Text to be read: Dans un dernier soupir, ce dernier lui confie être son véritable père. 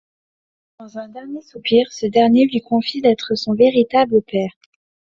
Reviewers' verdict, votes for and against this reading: rejected, 0, 2